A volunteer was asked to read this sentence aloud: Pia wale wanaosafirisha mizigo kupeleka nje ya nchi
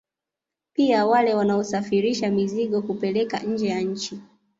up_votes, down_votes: 0, 2